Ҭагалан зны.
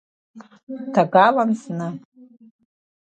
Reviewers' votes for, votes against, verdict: 2, 1, accepted